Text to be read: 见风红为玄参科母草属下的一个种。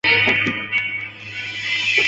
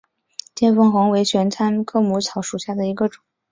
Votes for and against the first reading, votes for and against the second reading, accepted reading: 1, 2, 2, 0, second